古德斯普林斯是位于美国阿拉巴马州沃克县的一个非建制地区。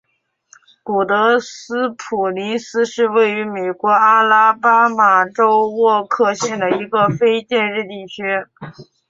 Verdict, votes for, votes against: accepted, 2, 0